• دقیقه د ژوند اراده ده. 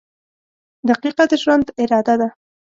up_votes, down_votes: 2, 0